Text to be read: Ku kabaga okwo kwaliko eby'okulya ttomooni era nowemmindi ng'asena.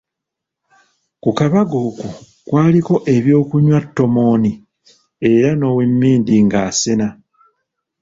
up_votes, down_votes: 0, 3